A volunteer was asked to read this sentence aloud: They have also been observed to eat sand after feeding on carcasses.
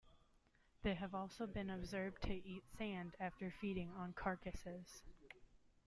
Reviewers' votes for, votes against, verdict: 2, 0, accepted